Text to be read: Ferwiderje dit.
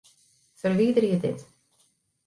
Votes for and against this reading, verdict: 2, 0, accepted